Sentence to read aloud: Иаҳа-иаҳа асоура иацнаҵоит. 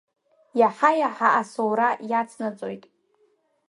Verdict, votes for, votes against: accepted, 3, 0